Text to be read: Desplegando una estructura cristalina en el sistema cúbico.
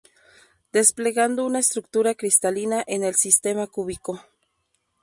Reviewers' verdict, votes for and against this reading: rejected, 2, 2